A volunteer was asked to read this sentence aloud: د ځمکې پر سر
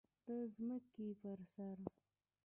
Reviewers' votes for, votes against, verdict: 0, 2, rejected